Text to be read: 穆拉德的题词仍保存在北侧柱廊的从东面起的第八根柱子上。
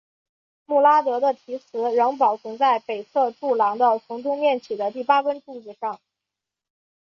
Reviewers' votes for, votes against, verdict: 2, 0, accepted